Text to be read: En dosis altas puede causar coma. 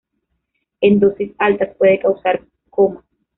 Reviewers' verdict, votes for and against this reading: accepted, 2, 0